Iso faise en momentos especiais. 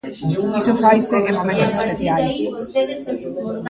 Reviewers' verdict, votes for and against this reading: accepted, 2, 0